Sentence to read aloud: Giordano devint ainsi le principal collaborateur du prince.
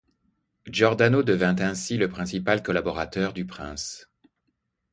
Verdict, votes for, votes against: accepted, 2, 0